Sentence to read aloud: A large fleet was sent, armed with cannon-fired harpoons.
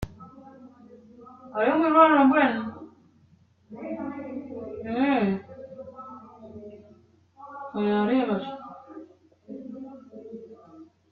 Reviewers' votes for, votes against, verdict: 0, 2, rejected